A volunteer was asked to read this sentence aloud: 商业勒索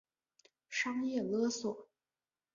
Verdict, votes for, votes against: accepted, 3, 0